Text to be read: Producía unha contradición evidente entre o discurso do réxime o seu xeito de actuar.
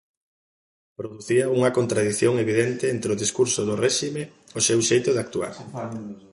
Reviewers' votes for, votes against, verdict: 1, 2, rejected